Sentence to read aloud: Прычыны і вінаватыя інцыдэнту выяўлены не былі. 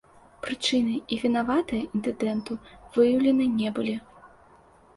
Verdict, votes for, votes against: rejected, 1, 2